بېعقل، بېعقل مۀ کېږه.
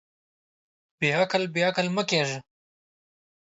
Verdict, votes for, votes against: accepted, 2, 0